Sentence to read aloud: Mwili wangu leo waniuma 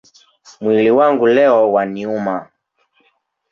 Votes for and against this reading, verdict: 3, 0, accepted